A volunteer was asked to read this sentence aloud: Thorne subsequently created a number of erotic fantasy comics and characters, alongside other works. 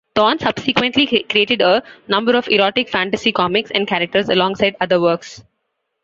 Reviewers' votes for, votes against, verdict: 0, 2, rejected